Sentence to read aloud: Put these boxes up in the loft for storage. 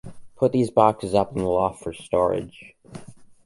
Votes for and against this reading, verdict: 2, 0, accepted